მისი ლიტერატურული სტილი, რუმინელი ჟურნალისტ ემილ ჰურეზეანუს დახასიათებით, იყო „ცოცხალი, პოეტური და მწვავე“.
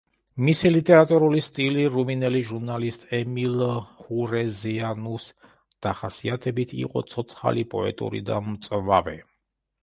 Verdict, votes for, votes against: rejected, 0, 2